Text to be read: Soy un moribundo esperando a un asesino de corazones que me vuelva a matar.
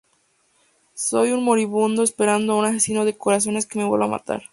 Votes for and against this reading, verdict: 2, 0, accepted